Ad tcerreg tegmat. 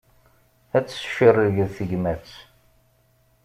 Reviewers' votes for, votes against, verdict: 1, 2, rejected